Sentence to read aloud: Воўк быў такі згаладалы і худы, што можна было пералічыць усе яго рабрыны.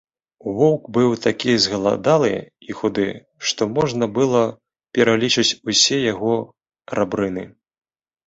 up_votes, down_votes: 1, 2